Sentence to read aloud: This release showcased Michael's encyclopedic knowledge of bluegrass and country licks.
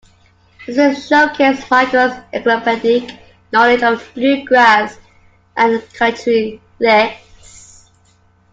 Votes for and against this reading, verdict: 0, 2, rejected